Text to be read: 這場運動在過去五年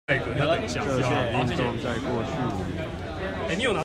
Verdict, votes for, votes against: rejected, 1, 2